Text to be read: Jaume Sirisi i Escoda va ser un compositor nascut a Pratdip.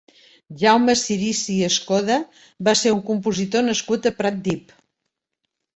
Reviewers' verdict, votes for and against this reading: accepted, 2, 0